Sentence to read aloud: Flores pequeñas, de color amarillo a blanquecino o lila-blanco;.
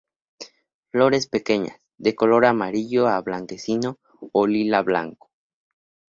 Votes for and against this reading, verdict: 2, 0, accepted